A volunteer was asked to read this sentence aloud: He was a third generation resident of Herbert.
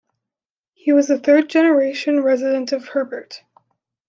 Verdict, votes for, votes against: accepted, 2, 0